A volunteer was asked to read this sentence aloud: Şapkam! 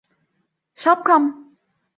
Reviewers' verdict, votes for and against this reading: accepted, 2, 0